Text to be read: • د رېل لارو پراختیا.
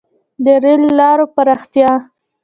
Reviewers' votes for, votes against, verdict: 1, 2, rejected